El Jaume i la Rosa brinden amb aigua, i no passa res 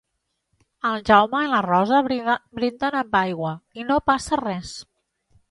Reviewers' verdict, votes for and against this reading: rejected, 1, 2